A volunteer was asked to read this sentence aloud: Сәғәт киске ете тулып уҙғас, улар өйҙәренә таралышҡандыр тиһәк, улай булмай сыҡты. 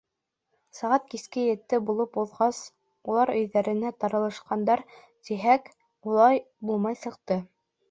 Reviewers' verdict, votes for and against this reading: rejected, 1, 2